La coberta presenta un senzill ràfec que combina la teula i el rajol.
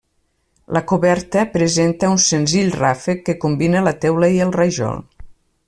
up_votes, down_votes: 3, 0